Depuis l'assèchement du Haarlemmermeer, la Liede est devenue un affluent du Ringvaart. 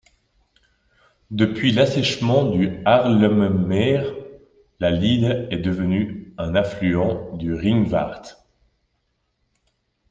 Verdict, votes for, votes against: rejected, 1, 2